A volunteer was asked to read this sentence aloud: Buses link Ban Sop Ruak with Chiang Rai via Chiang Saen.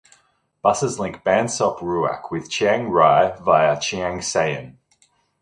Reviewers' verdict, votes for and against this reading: accepted, 2, 0